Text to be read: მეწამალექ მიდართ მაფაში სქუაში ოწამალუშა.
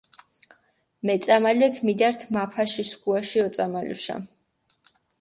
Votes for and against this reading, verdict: 4, 0, accepted